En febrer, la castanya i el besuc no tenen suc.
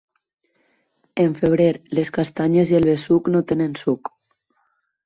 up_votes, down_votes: 2, 4